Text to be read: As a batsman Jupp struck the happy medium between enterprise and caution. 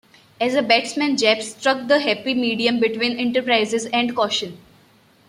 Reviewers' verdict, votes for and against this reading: accepted, 2, 1